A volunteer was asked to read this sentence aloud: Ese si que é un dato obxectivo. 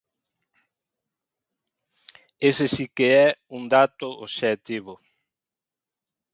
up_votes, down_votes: 2, 0